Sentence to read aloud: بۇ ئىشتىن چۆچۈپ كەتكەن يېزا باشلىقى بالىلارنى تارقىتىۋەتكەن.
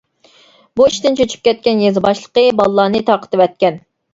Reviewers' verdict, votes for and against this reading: accepted, 2, 0